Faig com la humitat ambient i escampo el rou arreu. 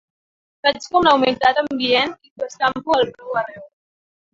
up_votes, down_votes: 1, 2